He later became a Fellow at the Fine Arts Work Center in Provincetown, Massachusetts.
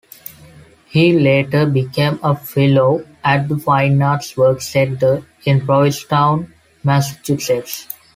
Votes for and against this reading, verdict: 2, 0, accepted